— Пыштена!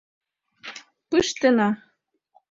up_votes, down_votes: 2, 1